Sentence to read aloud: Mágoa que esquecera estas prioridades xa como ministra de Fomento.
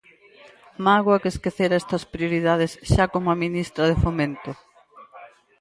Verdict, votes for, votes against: accepted, 4, 2